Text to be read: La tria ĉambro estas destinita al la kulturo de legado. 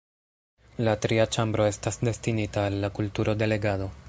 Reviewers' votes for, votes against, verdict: 1, 2, rejected